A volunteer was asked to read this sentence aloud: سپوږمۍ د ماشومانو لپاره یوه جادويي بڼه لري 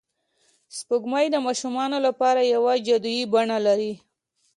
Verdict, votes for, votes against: accepted, 2, 1